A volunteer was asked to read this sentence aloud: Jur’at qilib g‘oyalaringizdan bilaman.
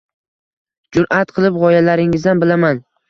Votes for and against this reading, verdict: 2, 0, accepted